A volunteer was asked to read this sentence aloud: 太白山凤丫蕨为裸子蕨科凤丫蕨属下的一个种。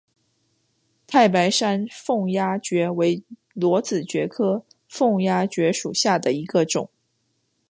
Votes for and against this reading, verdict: 2, 0, accepted